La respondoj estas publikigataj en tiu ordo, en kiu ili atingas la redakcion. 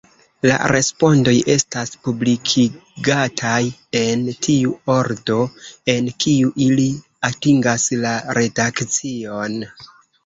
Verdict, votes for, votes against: accepted, 2, 1